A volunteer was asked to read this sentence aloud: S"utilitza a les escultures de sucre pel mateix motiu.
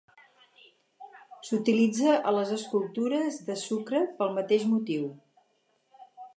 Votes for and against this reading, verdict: 2, 0, accepted